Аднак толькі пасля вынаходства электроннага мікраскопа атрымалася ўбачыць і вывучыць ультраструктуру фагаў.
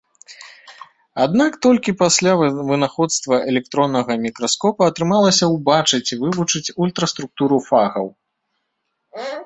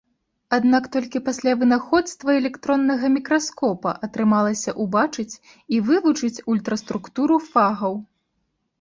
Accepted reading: second